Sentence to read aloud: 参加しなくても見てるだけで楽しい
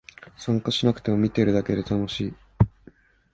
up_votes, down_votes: 2, 0